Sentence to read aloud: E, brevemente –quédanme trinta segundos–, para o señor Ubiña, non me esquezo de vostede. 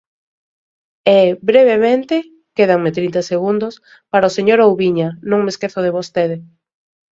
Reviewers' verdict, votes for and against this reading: rejected, 2, 3